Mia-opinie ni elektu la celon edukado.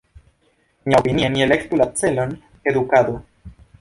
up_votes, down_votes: 0, 2